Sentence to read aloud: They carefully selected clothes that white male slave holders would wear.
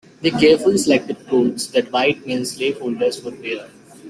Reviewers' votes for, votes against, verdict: 2, 1, accepted